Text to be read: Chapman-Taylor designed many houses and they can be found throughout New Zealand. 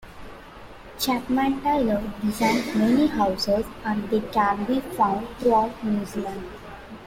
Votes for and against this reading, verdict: 2, 1, accepted